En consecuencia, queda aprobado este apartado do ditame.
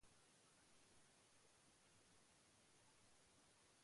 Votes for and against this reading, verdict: 0, 2, rejected